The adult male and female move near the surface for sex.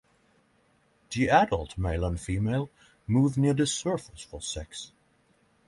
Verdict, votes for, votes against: accepted, 3, 0